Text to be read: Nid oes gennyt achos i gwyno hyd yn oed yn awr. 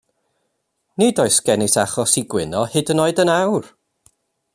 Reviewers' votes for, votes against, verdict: 2, 0, accepted